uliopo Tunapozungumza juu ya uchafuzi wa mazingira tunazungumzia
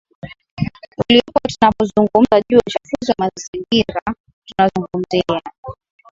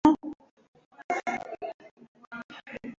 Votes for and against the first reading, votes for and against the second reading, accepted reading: 8, 1, 0, 2, first